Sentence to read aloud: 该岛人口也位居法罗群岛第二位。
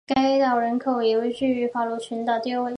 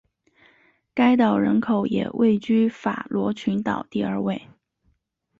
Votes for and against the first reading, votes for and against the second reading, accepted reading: 0, 3, 4, 0, second